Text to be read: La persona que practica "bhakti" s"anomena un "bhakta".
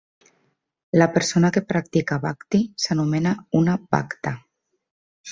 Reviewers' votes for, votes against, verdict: 0, 2, rejected